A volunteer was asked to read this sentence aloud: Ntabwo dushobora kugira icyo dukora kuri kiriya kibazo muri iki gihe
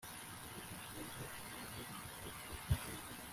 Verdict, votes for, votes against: rejected, 1, 2